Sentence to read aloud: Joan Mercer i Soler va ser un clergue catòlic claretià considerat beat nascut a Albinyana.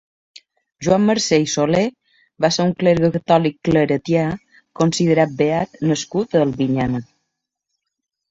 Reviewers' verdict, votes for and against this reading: accepted, 2, 0